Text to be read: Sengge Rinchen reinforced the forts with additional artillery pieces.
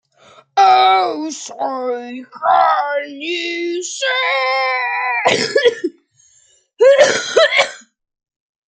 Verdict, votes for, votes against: rejected, 0, 2